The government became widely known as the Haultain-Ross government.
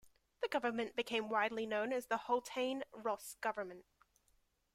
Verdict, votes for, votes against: accepted, 2, 0